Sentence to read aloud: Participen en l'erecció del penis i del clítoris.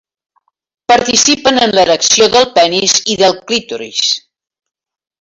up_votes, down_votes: 2, 0